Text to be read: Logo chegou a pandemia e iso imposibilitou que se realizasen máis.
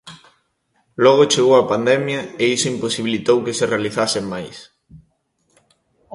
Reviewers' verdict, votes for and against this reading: accepted, 2, 0